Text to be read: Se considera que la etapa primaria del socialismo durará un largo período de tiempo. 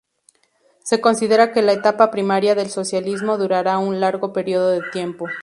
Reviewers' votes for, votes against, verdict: 6, 0, accepted